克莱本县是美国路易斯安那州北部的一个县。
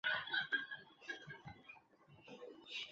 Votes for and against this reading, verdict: 0, 2, rejected